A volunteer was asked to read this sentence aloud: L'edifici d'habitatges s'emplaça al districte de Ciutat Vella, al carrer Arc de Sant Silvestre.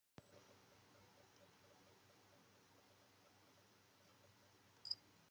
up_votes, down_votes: 0, 2